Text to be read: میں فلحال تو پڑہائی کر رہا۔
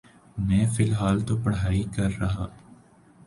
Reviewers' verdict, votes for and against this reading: accepted, 2, 0